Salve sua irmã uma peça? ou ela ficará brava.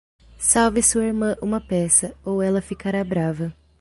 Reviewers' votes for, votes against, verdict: 2, 1, accepted